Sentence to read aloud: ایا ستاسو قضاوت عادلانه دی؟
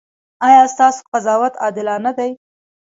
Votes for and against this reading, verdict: 2, 0, accepted